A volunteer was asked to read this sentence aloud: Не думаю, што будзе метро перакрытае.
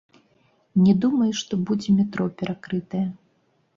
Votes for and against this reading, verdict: 0, 2, rejected